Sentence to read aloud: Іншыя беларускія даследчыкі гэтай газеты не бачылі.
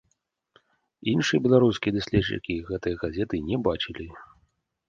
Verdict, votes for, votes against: accepted, 2, 0